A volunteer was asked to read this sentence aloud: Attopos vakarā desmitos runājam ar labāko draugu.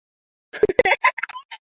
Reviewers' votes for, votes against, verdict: 0, 2, rejected